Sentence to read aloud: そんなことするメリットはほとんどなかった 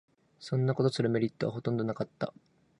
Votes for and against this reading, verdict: 2, 0, accepted